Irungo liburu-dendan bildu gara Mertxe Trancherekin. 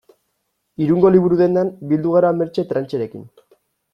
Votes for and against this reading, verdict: 2, 0, accepted